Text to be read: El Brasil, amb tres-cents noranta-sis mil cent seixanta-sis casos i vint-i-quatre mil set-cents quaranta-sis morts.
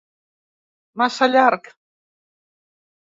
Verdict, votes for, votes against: rejected, 1, 2